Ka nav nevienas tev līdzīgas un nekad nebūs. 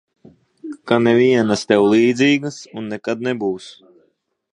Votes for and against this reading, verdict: 0, 4, rejected